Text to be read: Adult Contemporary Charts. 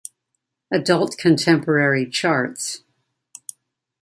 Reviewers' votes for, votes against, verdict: 2, 1, accepted